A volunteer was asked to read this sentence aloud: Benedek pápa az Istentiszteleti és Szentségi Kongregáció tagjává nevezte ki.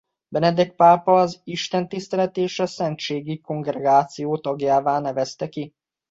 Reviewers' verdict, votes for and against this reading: rejected, 1, 2